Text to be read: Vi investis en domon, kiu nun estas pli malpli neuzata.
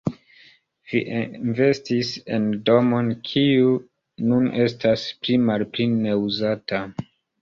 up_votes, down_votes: 0, 3